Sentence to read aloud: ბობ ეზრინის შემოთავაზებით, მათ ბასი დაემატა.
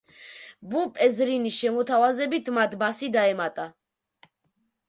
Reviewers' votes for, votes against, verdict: 0, 2, rejected